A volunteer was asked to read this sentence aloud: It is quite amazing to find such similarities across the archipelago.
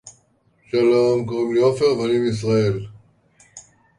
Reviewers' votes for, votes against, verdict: 0, 2, rejected